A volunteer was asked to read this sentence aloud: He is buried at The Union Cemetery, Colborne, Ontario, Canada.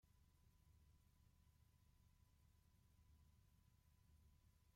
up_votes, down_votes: 0, 2